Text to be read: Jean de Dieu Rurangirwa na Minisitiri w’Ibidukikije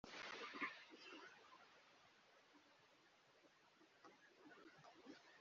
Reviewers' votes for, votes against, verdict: 0, 2, rejected